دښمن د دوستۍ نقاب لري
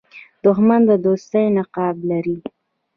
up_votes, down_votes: 2, 0